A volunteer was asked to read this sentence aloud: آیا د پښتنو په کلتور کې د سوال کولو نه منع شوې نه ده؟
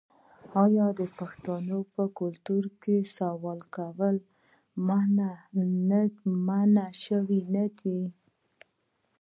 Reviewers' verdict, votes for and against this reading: rejected, 1, 2